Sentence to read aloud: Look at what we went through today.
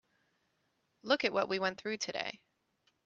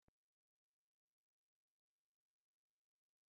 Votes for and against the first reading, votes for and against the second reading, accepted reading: 3, 0, 0, 2, first